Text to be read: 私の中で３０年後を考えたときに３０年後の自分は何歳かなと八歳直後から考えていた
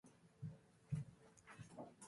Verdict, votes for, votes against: rejected, 0, 2